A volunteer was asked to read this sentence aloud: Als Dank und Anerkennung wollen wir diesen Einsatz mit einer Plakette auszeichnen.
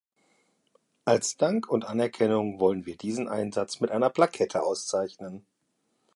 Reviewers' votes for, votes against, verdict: 2, 0, accepted